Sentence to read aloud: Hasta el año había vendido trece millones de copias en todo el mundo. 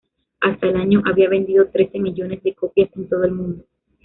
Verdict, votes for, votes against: rejected, 0, 2